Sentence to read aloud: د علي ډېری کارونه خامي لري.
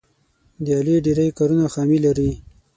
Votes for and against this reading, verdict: 6, 0, accepted